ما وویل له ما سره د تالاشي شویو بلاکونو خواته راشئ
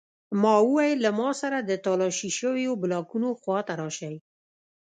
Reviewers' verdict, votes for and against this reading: accepted, 2, 0